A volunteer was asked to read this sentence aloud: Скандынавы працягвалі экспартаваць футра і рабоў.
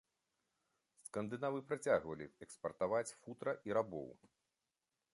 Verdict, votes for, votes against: accepted, 2, 0